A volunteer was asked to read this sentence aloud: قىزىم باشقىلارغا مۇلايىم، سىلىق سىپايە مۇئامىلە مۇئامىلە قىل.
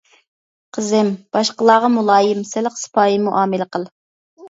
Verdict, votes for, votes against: rejected, 1, 2